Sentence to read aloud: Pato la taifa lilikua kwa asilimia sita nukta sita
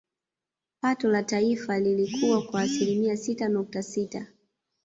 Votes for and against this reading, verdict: 0, 2, rejected